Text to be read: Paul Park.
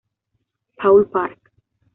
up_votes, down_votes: 2, 0